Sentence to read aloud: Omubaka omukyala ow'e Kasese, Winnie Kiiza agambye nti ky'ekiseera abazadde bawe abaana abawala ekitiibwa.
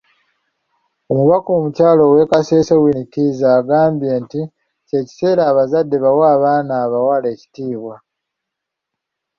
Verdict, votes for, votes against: accepted, 2, 0